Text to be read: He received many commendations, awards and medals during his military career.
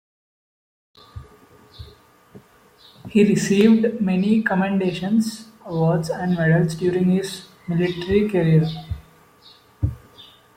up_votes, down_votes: 1, 2